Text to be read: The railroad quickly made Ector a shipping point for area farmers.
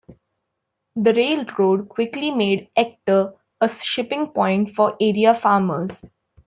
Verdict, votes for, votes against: accepted, 2, 0